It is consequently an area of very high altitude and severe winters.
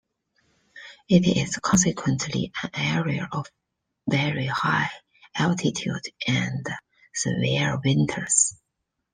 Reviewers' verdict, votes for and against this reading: accepted, 2, 0